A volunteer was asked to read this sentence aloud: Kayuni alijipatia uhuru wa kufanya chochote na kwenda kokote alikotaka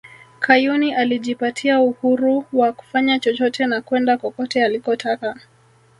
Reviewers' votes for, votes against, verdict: 1, 2, rejected